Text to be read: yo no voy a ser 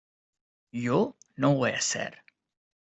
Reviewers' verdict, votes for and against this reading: accepted, 2, 0